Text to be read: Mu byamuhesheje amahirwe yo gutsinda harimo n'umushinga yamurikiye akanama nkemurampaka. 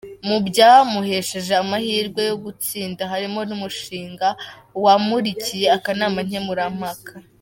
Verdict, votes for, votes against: rejected, 0, 2